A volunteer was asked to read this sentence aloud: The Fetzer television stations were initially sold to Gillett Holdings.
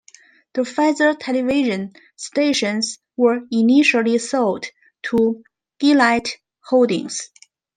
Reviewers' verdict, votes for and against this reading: accepted, 2, 0